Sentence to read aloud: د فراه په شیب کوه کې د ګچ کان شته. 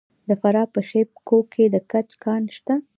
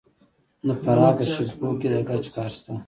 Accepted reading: first